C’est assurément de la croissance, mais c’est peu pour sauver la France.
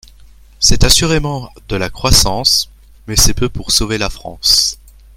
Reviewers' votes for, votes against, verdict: 1, 2, rejected